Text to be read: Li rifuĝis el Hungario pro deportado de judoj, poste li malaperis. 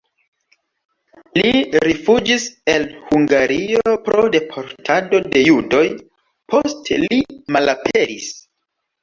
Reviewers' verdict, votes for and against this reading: accepted, 2, 0